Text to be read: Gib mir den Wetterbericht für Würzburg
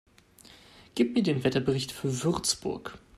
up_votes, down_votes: 2, 0